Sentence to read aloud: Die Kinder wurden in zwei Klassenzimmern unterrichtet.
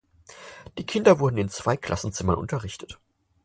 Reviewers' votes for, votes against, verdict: 4, 0, accepted